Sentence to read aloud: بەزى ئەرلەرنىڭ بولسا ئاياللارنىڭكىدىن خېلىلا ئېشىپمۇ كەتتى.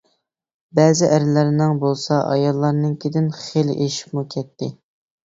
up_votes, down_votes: 0, 2